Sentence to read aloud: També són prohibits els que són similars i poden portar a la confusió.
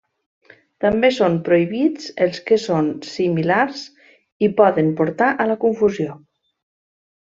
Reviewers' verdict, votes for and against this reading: accepted, 3, 0